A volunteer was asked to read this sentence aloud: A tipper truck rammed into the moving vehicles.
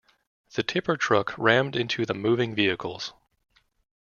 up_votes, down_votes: 0, 2